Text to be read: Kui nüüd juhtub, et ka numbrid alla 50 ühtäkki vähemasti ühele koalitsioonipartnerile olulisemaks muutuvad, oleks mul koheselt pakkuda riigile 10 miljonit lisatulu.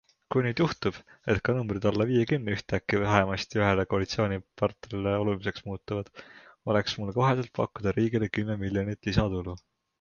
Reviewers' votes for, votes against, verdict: 0, 2, rejected